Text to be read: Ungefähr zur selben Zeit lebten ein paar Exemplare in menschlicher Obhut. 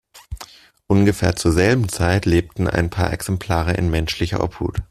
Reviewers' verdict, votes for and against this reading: accepted, 2, 0